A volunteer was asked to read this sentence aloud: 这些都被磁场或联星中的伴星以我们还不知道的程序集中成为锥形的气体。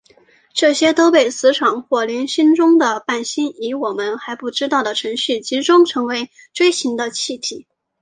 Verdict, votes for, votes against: accepted, 2, 1